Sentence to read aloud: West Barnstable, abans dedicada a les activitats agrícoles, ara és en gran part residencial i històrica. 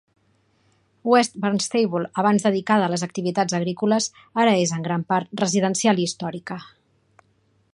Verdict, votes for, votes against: accepted, 2, 0